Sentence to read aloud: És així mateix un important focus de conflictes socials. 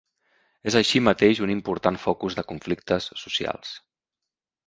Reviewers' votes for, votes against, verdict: 3, 0, accepted